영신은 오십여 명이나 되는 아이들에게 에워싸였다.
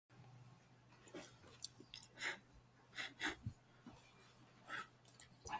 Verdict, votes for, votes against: rejected, 0, 2